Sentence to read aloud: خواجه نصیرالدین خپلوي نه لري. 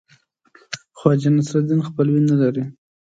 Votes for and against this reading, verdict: 2, 0, accepted